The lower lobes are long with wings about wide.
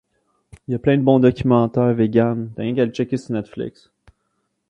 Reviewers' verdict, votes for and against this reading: rejected, 0, 2